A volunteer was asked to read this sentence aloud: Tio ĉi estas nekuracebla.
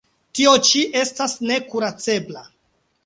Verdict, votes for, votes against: accepted, 2, 0